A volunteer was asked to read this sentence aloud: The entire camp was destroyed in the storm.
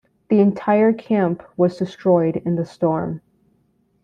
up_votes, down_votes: 0, 2